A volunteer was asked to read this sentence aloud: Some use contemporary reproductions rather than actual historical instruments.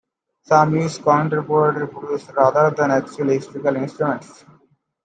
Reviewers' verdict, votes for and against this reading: rejected, 1, 2